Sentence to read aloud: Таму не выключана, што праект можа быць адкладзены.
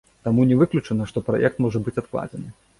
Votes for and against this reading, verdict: 2, 0, accepted